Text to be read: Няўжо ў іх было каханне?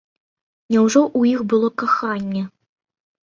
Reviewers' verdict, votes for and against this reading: accepted, 2, 0